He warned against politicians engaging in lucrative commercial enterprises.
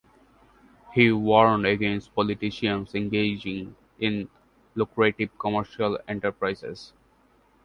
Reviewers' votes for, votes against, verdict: 2, 0, accepted